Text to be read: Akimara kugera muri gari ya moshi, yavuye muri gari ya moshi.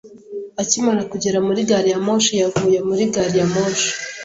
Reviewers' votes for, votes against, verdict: 2, 0, accepted